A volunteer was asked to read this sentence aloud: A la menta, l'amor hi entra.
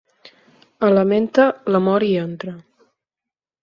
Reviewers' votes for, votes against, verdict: 4, 0, accepted